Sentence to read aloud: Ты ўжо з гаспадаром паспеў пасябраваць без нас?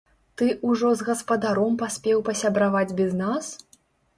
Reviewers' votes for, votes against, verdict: 0, 3, rejected